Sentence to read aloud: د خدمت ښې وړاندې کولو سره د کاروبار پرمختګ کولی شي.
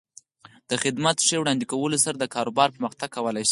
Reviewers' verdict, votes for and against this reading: accepted, 4, 2